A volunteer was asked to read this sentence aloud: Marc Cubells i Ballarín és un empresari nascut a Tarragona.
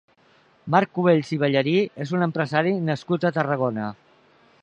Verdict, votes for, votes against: rejected, 0, 2